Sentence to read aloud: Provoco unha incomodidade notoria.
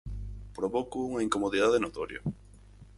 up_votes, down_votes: 4, 0